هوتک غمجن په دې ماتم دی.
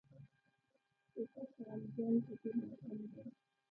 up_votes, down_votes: 1, 2